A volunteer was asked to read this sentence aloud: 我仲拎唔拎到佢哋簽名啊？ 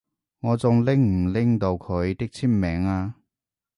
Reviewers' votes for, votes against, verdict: 0, 2, rejected